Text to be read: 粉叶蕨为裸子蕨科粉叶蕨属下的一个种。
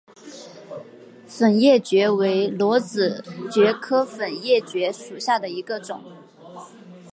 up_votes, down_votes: 3, 0